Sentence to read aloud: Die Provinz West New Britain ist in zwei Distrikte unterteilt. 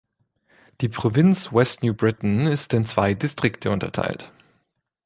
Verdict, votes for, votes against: accepted, 2, 0